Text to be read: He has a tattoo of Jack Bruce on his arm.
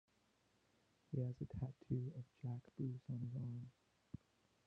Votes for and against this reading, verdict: 0, 2, rejected